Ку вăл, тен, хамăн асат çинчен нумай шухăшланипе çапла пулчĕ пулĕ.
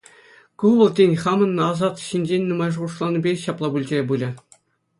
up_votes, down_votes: 2, 0